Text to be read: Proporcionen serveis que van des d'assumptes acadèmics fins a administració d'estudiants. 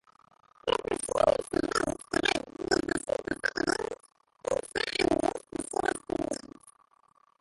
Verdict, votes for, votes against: rejected, 0, 2